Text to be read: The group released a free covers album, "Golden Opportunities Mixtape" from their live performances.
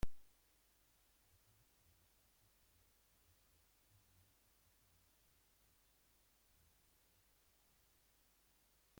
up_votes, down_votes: 0, 2